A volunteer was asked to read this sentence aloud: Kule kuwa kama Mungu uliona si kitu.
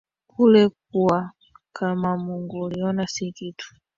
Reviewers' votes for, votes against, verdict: 1, 2, rejected